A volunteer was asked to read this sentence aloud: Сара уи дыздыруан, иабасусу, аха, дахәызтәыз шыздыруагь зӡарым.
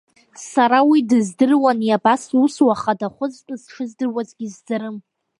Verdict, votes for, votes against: rejected, 1, 2